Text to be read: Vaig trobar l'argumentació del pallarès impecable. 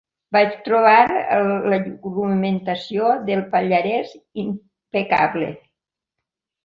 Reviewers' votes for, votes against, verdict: 0, 2, rejected